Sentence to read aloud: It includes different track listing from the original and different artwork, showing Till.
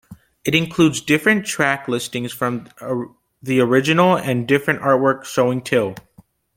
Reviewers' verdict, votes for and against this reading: rejected, 1, 2